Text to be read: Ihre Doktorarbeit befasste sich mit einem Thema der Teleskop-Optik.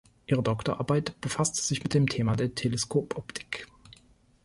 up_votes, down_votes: 1, 2